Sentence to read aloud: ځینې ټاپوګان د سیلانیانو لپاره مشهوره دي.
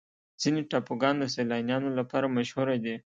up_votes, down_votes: 2, 0